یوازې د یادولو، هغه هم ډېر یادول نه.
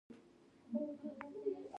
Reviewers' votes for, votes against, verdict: 1, 2, rejected